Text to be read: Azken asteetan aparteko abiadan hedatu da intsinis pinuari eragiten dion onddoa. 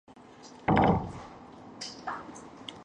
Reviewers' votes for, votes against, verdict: 0, 5, rejected